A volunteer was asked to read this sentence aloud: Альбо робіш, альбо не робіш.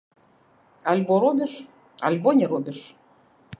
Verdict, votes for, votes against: rejected, 1, 2